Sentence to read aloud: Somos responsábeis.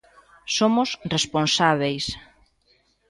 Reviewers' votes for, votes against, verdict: 2, 1, accepted